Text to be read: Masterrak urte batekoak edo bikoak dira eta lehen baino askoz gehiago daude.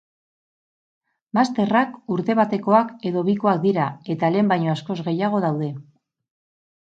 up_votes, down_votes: 6, 0